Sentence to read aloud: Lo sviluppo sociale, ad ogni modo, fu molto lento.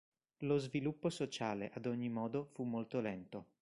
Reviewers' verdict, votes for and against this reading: accepted, 2, 0